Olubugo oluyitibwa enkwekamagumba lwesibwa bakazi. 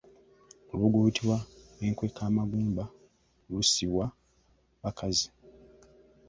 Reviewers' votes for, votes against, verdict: 0, 2, rejected